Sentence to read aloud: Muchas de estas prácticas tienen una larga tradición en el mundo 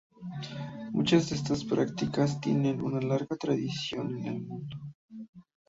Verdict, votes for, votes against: rejected, 0, 2